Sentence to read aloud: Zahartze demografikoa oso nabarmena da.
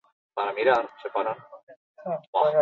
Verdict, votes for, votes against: rejected, 0, 4